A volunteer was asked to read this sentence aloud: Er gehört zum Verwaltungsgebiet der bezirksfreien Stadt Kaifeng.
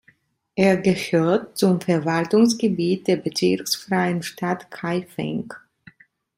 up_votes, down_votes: 3, 0